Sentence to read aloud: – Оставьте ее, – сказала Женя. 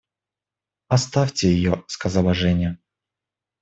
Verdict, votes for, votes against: accepted, 2, 0